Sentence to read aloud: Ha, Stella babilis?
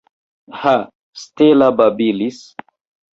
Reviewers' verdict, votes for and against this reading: rejected, 0, 2